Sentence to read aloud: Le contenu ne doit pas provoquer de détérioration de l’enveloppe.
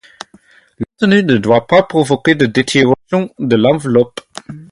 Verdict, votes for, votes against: accepted, 4, 2